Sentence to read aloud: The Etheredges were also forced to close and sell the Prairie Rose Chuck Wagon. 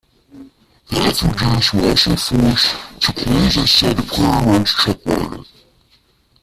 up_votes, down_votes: 0, 2